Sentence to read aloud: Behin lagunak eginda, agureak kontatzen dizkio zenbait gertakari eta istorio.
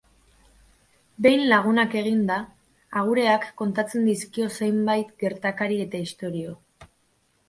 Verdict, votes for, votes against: accepted, 2, 0